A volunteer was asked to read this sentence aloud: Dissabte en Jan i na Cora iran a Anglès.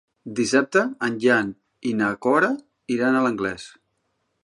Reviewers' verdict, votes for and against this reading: rejected, 1, 3